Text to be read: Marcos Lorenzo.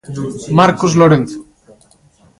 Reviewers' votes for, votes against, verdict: 2, 0, accepted